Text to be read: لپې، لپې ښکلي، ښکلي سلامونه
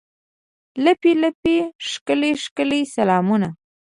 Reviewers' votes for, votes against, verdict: 2, 0, accepted